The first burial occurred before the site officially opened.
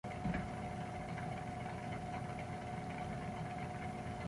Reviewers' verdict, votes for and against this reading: rejected, 0, 4